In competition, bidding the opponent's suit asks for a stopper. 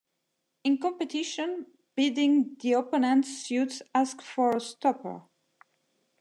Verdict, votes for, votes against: accepted, 2, 0